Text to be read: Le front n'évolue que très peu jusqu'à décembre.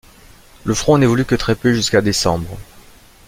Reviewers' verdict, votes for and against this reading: accepted, 2, 0